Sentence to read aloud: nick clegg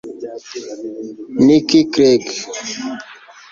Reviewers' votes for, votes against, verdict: 1, 2, rejected